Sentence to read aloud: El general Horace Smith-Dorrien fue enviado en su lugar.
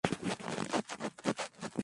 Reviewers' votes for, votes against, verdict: 0, 2, rejected